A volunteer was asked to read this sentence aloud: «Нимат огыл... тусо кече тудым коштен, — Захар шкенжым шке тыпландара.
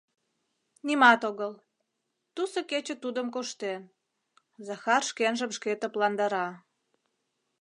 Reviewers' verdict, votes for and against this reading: accepted, 2, 0